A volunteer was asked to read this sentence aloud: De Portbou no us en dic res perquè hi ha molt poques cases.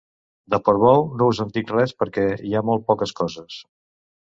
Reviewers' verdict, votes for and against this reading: rejected, 1, 2